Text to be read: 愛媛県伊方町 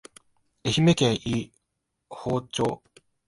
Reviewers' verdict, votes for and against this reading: rejected, 0, 2